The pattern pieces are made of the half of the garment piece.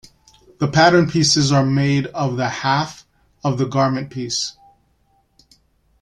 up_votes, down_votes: 2, 0